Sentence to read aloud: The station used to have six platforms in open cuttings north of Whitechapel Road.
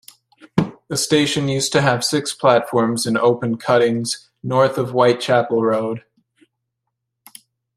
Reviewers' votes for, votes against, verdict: 2, 0, accepted